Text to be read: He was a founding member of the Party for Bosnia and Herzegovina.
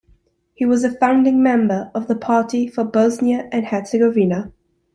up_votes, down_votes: 2, 0